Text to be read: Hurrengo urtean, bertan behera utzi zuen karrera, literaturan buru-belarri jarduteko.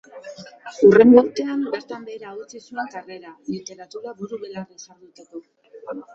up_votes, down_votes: 1, 2